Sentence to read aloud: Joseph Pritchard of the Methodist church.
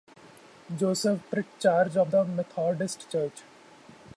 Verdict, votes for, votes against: accepted, 2, 0